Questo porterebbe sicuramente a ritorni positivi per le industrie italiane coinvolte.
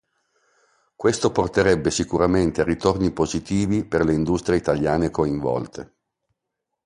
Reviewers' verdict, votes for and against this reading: accepted, 2, 0